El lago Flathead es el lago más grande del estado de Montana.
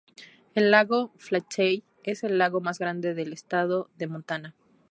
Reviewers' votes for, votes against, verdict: 4, 0, accepted